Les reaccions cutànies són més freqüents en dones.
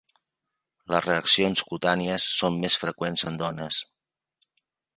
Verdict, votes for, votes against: accepted, 3, 0